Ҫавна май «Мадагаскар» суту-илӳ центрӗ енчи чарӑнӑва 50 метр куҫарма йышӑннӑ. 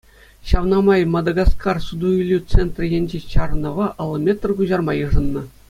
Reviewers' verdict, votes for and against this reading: rejected, 0, 2